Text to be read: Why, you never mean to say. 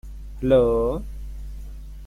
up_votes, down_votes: 0, 2